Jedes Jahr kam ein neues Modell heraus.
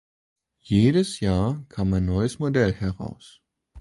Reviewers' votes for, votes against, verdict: 2, 0, accepted